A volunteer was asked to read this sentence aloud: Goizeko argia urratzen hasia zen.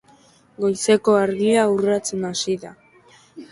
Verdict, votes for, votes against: rejected, 1, 2